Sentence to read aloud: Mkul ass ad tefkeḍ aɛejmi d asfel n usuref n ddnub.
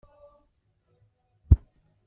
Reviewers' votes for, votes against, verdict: 1, 2, rejected